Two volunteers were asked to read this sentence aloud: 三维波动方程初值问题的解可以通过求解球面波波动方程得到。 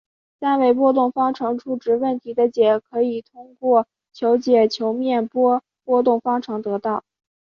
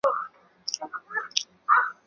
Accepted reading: first